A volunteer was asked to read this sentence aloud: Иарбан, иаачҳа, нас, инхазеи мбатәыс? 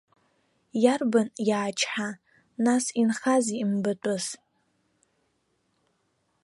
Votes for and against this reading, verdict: 3, 0, accepted